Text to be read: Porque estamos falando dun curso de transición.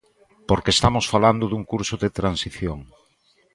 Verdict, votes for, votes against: accepted, 2, 0